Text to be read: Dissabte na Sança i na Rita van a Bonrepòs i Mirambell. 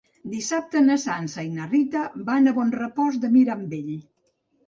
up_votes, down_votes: 2, 3